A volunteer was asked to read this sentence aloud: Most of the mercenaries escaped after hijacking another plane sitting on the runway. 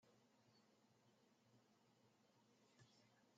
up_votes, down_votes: 0, 2